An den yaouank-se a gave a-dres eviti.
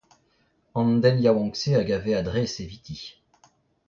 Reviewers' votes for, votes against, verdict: 0, 2, rejected